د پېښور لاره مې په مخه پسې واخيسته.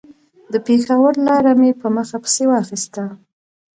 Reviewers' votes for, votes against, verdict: 2, 0, accepted